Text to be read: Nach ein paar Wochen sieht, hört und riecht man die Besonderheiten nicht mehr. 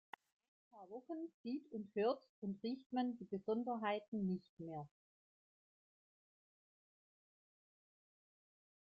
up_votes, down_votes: 0, 2